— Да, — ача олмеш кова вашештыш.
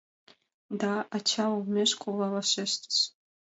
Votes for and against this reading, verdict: 2, 0, accepted